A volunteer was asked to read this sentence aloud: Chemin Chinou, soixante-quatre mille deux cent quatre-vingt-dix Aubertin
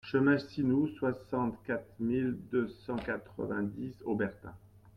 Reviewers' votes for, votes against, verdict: 0, 2, rejected